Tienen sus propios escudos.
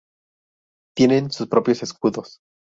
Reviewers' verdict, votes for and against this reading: accepted, 2, 0